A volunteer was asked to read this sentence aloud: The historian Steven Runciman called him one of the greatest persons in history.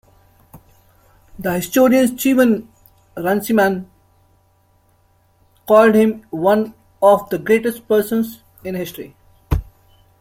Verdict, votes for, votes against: rejected, 1, 2